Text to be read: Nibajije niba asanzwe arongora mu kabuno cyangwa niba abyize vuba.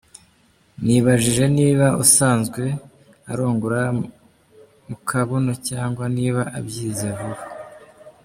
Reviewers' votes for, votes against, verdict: 1, 2, rejected